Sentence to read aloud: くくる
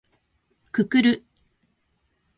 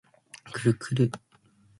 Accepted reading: first